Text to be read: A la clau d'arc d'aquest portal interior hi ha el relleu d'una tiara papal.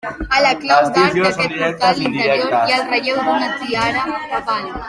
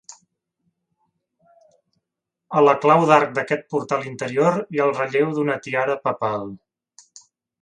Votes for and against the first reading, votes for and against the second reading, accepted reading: 0, 2, 3, 0, second